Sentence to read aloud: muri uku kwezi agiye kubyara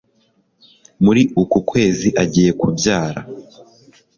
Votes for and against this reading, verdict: 4, 0, accepted